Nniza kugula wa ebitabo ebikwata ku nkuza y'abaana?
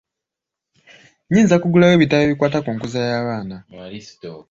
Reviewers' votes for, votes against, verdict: 2, 0, accepted